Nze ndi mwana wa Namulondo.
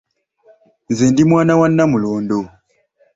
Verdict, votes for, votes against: accepted, 2, 1